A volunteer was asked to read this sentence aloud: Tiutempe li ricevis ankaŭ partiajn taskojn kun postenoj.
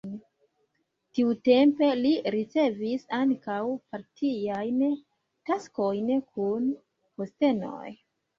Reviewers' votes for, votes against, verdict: 0, 2, rejected